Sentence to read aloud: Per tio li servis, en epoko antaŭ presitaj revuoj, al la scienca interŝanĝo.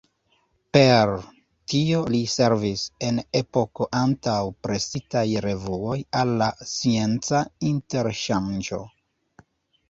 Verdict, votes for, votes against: rejected, 1, 2